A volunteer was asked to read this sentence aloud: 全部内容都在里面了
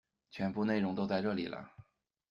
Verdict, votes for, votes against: rejected, 1, 2